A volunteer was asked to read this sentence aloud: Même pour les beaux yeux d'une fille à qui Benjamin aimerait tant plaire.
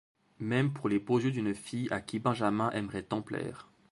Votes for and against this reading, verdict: 2, 0, accepted